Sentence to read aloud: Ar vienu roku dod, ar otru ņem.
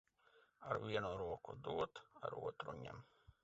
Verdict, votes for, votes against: rejected, 0, 2